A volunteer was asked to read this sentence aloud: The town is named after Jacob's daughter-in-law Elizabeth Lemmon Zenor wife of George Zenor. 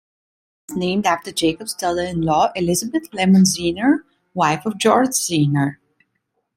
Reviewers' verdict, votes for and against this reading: rejected, 0, 2